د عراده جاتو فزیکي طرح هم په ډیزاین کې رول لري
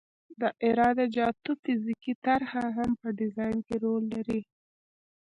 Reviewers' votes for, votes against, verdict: 2, 0, accepted